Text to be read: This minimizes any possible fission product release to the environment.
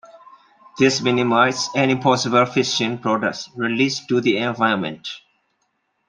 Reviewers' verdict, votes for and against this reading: rejected, 0, 2